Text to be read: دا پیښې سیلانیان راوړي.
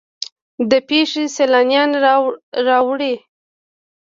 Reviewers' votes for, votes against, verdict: 2, 0, accepted